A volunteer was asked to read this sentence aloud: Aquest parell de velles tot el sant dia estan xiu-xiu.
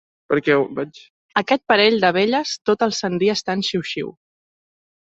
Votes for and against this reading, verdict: 1, 3, rejected